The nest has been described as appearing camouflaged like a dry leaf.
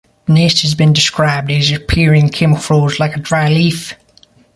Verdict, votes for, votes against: rejected, 0, 2